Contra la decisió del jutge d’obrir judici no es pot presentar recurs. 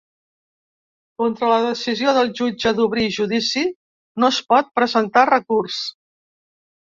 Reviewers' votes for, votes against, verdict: 3, 0, accepted